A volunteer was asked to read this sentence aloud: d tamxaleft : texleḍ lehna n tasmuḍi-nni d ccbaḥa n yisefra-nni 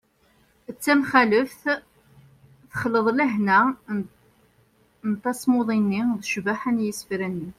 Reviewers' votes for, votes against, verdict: 0, 2, rejected